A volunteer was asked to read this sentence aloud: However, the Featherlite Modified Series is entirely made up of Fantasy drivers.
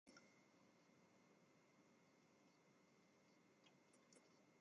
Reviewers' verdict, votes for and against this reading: rejected, 0, 2